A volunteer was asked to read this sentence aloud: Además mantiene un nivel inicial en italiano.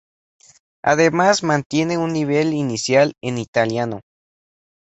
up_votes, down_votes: 2, 0